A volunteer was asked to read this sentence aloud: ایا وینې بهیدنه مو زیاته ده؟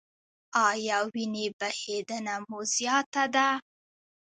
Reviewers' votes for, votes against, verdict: 0, 2, rejected